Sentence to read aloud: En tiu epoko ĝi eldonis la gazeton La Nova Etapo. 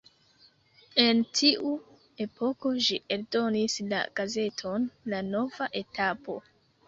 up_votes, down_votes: 2, 1